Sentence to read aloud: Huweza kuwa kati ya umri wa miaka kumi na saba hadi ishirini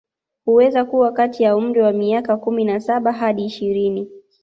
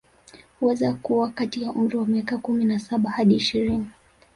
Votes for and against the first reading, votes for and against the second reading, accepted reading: 2, 0, 1, 2, first